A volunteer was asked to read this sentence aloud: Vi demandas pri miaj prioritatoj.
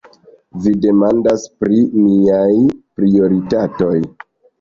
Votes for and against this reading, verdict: 3, 0, accepted